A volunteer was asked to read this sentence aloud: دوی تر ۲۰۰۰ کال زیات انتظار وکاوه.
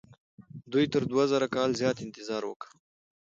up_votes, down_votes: 0, 2